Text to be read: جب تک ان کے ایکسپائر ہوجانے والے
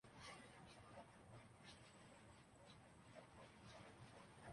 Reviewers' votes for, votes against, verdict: 0, 2, rejected